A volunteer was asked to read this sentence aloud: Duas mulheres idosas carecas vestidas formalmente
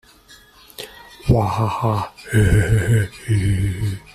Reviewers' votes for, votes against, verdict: 0, 2, rejected